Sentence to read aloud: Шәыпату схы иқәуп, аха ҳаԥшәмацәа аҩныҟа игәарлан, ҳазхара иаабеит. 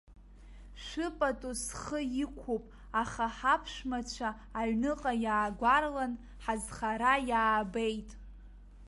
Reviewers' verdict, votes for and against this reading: rejected, 0, 2